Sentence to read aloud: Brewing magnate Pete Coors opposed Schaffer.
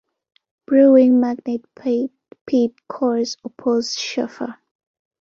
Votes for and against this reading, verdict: 1, 2, rejected